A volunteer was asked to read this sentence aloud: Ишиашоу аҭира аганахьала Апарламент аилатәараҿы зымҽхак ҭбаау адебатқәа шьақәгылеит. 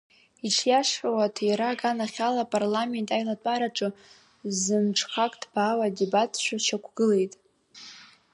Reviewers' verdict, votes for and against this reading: rejected, 1, 2